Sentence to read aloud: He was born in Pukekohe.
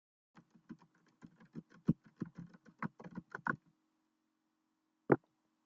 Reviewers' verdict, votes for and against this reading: rejected, 0, 3